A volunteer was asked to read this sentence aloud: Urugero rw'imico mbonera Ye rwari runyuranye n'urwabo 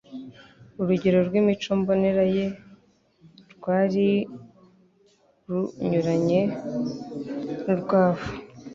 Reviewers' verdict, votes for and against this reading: rejected, 0, 2